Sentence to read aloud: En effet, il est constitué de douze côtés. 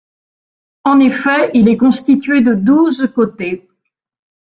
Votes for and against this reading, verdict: 2, 0, accepted